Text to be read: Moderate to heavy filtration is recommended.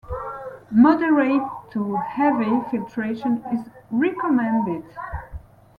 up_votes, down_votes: 2, 1